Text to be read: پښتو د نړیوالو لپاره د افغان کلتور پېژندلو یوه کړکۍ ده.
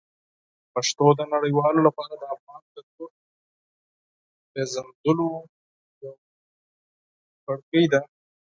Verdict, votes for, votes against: rejected, 0, 4